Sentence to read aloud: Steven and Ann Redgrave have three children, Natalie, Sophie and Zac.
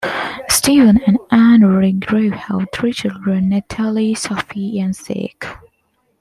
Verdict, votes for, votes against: accepted, 2, 0